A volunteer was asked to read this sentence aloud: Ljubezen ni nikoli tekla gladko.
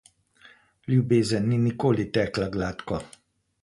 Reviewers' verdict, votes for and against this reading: accepted, 2, 0